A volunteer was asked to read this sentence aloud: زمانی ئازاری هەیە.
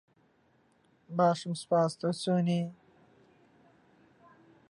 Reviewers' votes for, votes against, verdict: 0, 2, rejected